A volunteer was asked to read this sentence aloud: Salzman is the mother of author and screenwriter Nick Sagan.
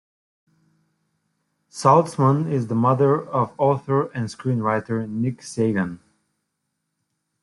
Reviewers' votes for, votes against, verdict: 2, 0, accepted